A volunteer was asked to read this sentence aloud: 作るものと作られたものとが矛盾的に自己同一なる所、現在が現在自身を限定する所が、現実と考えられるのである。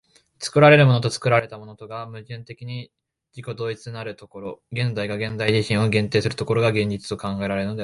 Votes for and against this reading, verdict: 1, 2, rejected